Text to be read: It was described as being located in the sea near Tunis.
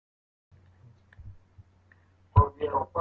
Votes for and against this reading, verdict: 0, 2, rejected